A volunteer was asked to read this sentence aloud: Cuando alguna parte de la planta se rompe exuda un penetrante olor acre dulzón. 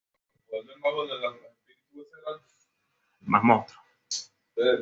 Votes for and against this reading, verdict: 1, 2, rejected